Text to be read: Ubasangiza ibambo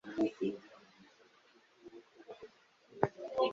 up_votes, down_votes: 0, 2